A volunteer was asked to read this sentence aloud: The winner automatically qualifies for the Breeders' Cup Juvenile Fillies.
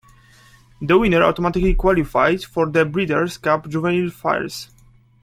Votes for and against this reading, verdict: 1, 2, rejected